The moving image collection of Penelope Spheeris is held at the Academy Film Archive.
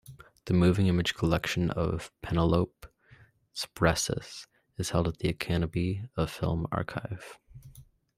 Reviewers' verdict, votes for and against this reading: rejected, 0, 2